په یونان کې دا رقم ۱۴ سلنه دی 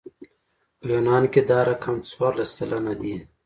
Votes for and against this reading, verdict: 0, 2, rejected